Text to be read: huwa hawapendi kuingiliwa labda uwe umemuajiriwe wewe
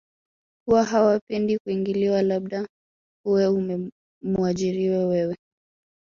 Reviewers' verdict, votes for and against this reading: rejected, 0, 3